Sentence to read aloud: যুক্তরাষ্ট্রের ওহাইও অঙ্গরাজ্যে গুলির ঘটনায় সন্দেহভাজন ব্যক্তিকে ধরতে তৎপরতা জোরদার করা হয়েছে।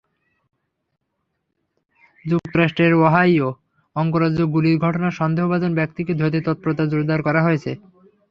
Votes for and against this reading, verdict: 3, 0, accepted